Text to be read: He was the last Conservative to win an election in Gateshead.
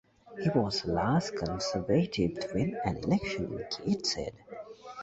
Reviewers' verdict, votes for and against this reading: rejected, 0, 2